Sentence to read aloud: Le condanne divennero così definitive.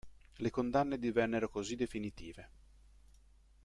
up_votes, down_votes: 2, 0